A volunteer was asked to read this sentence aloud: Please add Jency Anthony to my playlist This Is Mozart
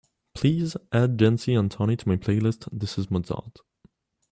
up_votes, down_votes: 2, 1